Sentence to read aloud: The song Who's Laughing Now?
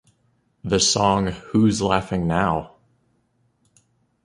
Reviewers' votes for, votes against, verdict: 2, 0, accepted